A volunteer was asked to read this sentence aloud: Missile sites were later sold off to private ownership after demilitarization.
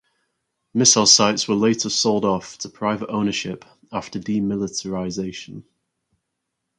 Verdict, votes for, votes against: accepted, 4, 0